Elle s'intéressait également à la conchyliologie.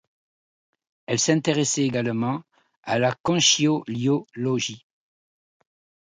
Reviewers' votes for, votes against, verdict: 1, 2, rejected